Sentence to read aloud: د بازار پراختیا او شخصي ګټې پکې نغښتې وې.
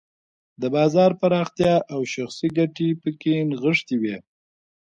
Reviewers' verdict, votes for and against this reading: rejected, 0, 2